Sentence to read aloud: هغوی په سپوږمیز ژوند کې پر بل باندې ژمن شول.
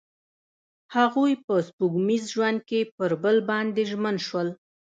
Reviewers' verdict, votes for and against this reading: accepted, 2, 0